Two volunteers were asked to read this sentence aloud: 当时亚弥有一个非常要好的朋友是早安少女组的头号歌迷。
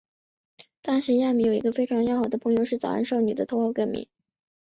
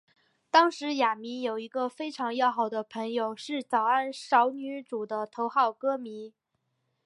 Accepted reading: second